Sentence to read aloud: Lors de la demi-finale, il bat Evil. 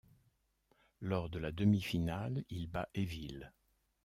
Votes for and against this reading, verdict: 2, 0, accepted